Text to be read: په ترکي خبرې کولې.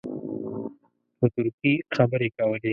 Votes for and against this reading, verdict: 0, 2, rejected